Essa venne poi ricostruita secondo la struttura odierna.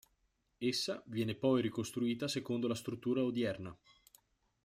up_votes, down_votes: 0, 2